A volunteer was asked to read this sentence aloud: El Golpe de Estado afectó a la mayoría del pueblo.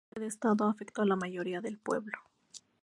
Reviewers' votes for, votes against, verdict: 0, 4, rejected